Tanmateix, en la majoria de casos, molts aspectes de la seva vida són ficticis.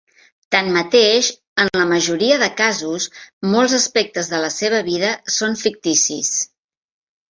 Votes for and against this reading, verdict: 3, 0, accepted